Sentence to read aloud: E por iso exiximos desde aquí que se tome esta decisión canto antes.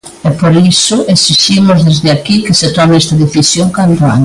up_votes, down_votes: 0, 2